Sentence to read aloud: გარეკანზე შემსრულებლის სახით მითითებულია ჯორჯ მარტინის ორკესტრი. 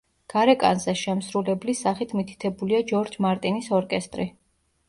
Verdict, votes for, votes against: accepted, 2, 0